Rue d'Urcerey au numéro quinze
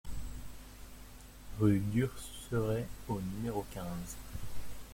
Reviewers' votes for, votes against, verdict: 0, 2, rejected